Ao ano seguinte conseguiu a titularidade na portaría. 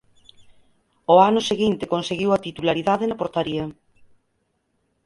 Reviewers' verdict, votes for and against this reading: rejected, 2, 4